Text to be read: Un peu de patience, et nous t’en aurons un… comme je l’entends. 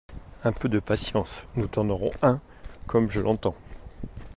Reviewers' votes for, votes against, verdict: 0, 2, rejected